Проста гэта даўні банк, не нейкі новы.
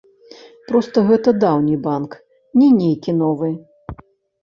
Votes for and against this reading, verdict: 0, 2, rejected